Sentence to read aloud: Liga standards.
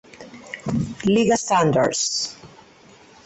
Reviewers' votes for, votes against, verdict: 4, 0, accepted